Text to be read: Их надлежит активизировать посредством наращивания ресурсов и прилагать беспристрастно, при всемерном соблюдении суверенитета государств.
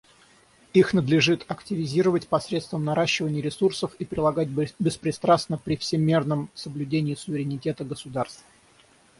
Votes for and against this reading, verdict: 3, 3, rejected